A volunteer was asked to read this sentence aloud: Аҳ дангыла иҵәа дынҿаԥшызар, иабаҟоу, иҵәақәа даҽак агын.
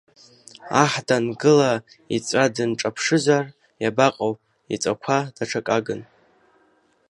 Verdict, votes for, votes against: rejected, 1, 2